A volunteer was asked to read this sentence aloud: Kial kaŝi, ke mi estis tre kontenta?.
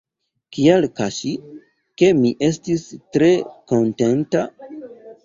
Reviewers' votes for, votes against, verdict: 1, 2, rejected